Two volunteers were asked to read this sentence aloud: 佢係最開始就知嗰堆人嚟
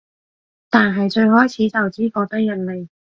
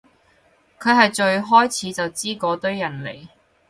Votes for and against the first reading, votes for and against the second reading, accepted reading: 1, 3, 4, 0, second